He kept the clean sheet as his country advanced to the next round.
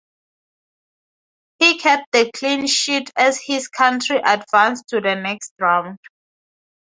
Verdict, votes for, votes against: accepted, 4, 0